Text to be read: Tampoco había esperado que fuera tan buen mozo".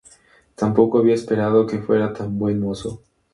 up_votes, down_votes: 2, 0